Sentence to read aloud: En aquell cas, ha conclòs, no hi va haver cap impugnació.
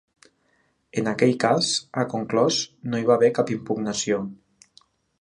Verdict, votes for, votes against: accepted, 3, 0